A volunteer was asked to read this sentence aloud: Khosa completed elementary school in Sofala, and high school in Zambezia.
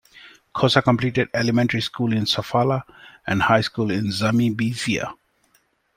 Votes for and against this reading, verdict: 1, 2, rejected